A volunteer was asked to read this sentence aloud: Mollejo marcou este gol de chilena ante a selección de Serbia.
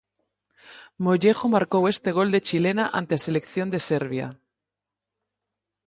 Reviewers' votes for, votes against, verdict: 4, 0, accepted